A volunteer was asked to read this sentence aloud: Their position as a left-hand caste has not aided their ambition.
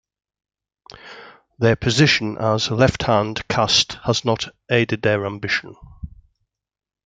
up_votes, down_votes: 2, 0